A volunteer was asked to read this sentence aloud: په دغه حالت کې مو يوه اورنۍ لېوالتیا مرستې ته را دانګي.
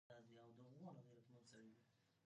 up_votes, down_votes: 0, 2